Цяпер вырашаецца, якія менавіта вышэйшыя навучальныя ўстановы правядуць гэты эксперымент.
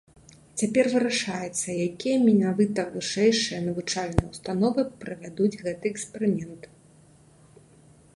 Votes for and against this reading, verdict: 0, 2, rejected